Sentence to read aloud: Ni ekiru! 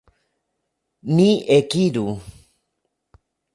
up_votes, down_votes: 0, 2